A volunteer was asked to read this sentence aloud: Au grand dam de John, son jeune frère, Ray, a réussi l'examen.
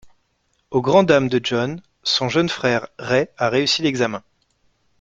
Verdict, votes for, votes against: accepted, 2, 1